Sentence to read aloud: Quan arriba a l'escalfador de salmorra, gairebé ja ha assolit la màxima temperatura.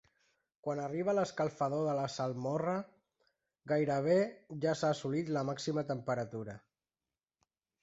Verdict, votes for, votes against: accepted, 2, 1